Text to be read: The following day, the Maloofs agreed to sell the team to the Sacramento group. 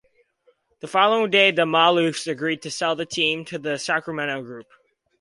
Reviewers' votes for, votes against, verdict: 2, 0, accepted